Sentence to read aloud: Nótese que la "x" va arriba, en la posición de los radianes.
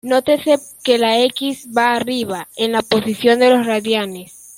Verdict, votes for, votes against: accepted, 2, 0